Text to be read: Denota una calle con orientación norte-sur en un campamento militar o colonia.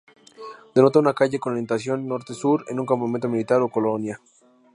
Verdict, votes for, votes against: accepted, 2, 0